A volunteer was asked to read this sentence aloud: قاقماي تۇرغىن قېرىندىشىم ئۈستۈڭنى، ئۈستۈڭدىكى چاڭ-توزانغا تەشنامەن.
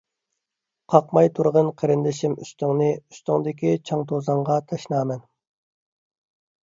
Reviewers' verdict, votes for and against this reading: accepted, 2, 0